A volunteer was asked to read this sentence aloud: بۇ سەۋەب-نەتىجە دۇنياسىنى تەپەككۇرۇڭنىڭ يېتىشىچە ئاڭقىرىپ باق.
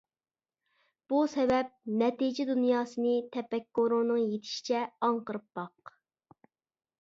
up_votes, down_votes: 2, 0